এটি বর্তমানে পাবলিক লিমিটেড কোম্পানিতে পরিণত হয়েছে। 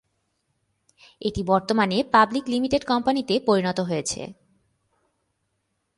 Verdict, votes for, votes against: accepted, 2, 0